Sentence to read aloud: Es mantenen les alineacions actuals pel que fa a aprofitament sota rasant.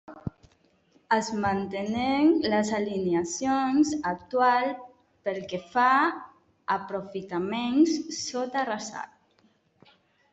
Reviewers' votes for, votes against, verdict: 1, 2, rejected